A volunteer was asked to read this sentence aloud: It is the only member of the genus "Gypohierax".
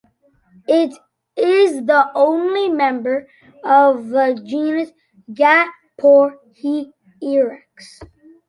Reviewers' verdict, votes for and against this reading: rejected, 1, 2